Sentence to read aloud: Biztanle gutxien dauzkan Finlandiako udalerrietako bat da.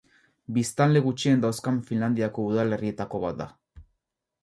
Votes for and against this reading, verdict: 2, 0, accepted